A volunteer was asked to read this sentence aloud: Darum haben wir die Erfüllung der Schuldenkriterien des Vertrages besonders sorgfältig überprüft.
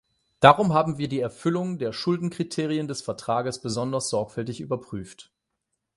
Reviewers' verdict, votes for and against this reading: accepted, 8, 0